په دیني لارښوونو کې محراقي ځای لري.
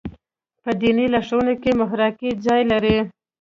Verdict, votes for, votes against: rejected, 1, 2